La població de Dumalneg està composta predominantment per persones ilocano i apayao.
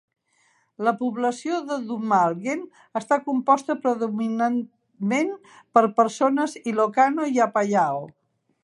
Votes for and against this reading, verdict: 1, 2, rejected